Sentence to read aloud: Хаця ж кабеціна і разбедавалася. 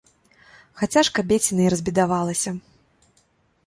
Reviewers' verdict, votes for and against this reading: accepted, 2, 0